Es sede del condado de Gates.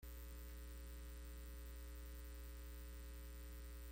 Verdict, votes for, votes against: rejected, 0, 2